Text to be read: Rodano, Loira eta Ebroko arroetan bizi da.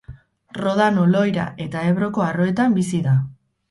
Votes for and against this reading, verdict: 4, 0, accepted